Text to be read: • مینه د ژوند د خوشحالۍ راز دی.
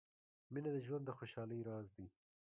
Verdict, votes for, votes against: rejected, 1, 3